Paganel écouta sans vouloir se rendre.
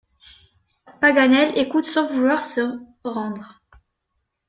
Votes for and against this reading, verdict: 0, 2, rejected